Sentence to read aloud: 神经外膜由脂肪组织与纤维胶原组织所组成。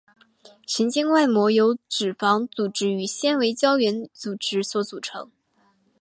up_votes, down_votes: 4, 0